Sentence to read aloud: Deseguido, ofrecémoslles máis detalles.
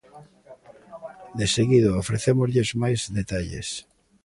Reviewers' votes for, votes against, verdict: 2, 0, accepted